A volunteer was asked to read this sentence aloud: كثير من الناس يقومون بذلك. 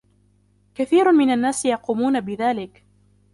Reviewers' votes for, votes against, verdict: 1, 2, rejected